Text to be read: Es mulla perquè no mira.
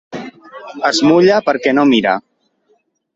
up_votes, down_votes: 3, 0